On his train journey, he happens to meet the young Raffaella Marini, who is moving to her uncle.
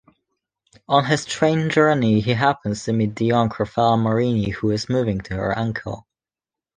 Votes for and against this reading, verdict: 1, 2, rejected